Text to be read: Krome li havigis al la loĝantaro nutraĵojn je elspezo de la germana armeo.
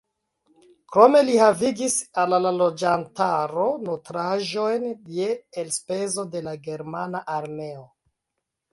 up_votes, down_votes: 0, 2